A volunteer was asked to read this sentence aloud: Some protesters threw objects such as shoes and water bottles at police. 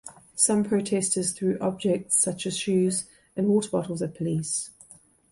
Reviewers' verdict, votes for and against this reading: accepted, 3, 0